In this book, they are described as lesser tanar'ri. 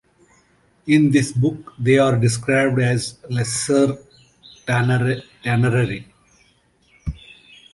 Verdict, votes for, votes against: accepted, 2, 1